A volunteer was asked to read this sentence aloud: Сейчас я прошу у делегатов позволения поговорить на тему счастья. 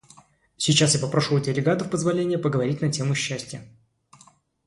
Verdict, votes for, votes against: rejected, 0, 2